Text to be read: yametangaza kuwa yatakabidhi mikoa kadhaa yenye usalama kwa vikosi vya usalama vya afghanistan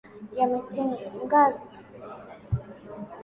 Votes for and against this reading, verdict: 0, 2, rejected